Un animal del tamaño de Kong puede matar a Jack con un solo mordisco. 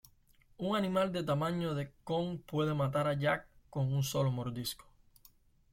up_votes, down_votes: 1, 2